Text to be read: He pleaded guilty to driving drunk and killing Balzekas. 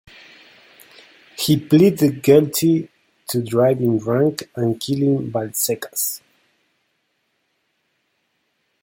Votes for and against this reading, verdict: 2, 0, accepted